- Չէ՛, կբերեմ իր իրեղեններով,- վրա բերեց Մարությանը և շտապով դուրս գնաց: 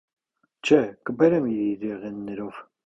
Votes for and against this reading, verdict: 1, 2, rejected